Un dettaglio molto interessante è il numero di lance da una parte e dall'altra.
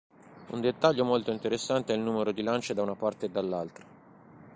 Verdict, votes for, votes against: accepted, 2, 0